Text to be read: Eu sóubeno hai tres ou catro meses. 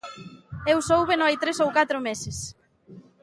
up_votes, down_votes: 2, 0